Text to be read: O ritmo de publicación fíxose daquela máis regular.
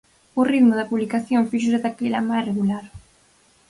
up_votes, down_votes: 2, 4